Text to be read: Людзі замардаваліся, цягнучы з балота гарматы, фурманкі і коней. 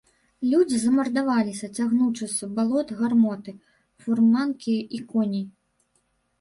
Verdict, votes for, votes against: rejected, 0, 2